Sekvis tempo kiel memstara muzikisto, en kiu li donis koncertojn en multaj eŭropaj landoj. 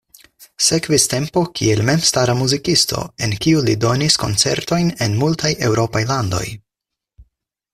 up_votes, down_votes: 4, 0